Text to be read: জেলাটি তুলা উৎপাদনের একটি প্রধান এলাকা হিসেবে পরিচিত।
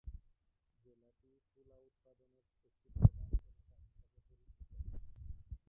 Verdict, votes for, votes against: rejected, 0, 2